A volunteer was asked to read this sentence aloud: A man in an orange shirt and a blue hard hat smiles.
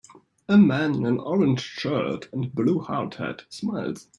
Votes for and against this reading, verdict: 1, 2, rejected